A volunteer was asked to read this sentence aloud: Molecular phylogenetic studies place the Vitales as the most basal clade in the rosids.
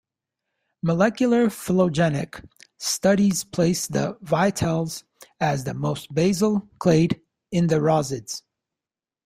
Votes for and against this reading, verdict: 0, 2, rejected